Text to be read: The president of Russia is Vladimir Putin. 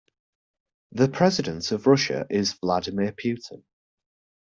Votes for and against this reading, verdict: 0, 2, rejected